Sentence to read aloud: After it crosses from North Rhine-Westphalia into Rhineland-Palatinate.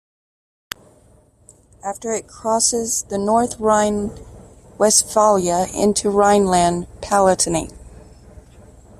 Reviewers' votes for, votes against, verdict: 1, 2, rejected